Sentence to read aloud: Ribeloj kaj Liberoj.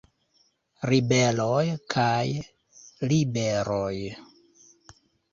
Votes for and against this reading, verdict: 2, 1, accepted